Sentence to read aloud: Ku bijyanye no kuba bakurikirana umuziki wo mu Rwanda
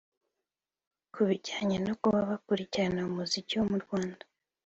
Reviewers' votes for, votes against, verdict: 3, 0, accepted